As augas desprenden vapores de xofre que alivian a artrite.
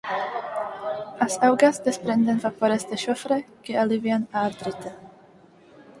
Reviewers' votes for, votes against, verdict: 4, 2, accepted